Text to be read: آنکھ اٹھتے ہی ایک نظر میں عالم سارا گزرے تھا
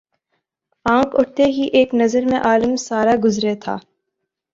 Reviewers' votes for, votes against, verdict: 2, 0, accepted